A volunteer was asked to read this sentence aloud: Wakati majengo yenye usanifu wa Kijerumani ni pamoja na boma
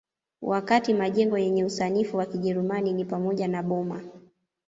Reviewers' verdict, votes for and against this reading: accepted, 2, 1